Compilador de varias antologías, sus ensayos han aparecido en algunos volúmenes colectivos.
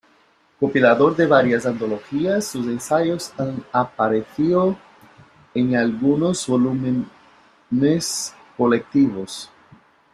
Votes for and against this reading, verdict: 1, 2, rejected